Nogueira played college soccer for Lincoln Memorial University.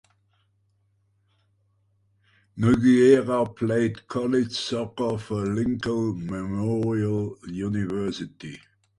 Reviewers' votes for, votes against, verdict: 3, 0, accepted